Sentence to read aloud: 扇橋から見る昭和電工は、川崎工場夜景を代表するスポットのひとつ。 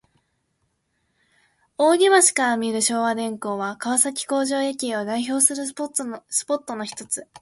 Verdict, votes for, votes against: rejected, 2, 3